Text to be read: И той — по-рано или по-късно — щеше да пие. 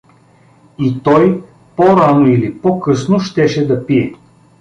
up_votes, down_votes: 2, 0